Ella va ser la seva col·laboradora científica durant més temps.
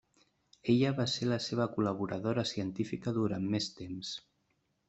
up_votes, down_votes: 3, 0